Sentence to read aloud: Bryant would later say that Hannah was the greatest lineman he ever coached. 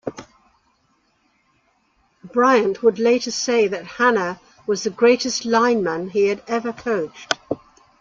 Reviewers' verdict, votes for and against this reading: accepted, 2, 0